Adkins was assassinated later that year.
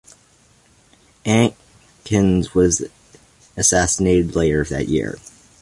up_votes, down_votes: 2, 0